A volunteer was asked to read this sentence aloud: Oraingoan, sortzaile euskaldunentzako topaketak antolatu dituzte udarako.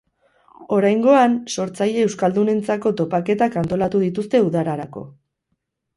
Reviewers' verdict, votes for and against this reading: rejected, 0, 4